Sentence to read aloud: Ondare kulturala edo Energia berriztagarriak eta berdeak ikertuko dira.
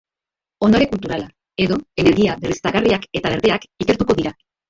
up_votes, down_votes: 3, 2